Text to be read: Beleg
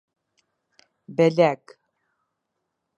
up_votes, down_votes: 2, 0